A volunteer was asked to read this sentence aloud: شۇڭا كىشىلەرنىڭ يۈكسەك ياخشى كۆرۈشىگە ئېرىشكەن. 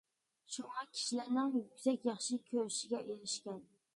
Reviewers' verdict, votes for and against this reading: accepted, 2, 0